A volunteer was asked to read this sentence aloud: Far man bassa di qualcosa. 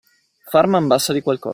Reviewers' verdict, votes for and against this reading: rejected, 1, 2